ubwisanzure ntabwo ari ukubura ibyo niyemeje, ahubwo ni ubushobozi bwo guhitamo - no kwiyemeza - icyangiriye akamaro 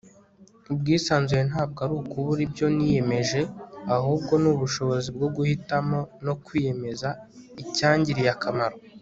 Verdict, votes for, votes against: accepted, 4, 0